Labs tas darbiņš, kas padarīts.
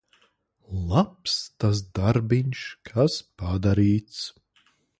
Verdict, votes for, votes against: accepted, 2, 1